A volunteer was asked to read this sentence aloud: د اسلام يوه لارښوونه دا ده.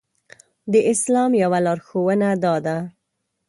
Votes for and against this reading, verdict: 3, 0, accepted